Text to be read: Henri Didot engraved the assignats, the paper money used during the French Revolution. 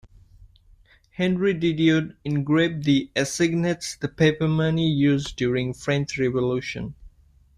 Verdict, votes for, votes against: rejected, 0, 2